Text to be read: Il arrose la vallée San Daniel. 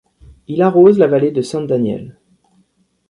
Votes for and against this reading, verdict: 2, 3, rejected